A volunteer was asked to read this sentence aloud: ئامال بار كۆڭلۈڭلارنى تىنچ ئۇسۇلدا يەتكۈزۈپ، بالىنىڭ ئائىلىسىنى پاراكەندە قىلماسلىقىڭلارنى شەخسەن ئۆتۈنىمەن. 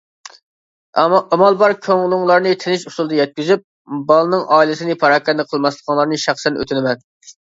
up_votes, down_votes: 1, 2